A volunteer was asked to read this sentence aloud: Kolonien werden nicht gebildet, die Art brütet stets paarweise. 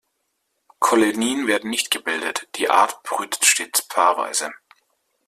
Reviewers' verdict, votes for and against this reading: accepted, 2, 0